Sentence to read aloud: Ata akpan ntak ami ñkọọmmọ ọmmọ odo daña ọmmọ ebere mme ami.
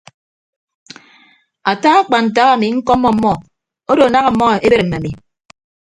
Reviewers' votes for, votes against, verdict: 0, 2, rejected